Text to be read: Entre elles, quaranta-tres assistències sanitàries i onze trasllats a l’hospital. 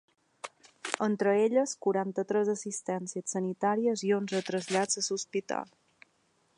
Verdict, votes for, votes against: accepted, 3, 1